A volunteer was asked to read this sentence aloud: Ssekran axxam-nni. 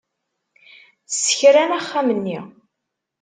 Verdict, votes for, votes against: accepted, 2, 0